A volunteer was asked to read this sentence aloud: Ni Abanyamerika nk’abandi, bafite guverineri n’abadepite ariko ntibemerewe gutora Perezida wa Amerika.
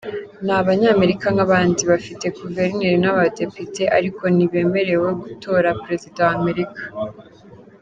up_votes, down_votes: 2, 0